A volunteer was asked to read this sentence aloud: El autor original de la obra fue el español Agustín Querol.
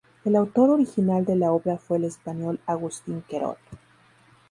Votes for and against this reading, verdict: 2, 0, accepted